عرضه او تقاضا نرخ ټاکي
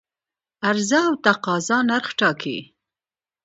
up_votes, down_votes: 2, 0